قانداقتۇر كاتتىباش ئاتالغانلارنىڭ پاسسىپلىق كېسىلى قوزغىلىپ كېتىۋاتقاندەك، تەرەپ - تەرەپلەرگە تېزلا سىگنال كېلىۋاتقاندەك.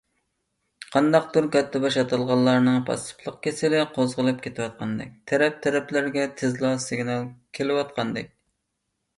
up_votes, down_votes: 2, 0